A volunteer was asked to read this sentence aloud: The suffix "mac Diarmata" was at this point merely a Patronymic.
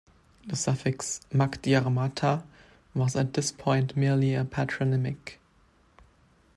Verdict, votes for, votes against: accepted, 2, 0